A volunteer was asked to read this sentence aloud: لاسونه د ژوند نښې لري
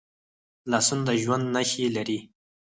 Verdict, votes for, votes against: accepted, 4, 2